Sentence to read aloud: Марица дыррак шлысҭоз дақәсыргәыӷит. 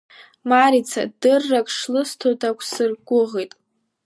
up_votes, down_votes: 2, 0